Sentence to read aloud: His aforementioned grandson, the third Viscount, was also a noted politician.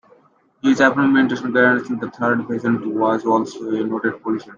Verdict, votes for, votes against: rejected, 0, 2